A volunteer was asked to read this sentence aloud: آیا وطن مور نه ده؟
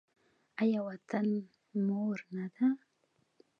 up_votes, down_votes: 2, 0